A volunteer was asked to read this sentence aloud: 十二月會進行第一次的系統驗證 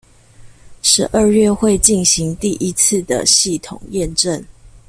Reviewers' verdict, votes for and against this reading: accepted, 2, 0